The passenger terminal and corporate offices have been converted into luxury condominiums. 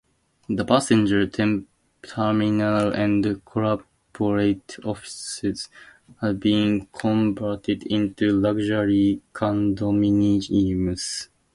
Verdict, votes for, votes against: rejected, 0, 2